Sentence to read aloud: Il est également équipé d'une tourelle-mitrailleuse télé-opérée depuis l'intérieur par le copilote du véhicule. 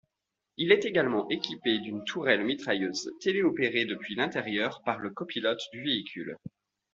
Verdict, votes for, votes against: accepted, 2, 0